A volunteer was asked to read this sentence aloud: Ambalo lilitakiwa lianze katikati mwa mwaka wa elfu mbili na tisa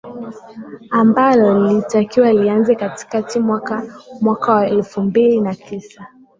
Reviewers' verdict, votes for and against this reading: rejected, 0, 3